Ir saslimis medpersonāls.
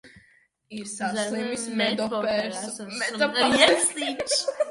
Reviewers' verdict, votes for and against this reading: rejected, 0, 2